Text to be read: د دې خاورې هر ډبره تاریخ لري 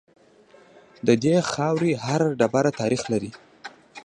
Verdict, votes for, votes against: accepted, 2, 0